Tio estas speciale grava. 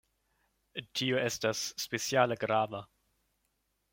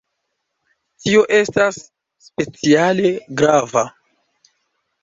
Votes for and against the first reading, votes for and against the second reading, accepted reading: 2, 0, 1, 2, first